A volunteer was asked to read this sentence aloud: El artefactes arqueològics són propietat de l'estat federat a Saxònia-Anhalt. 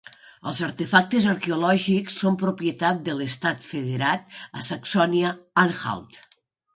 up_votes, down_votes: 3, 0